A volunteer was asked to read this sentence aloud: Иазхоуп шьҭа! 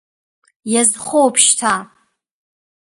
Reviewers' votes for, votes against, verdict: 2, 0, accepted